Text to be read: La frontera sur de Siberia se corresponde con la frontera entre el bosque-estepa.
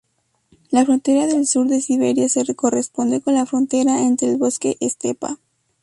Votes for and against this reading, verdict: 2, 2, rejected